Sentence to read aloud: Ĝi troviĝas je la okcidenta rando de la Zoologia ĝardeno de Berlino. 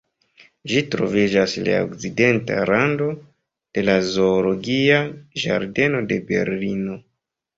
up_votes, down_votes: 1, 3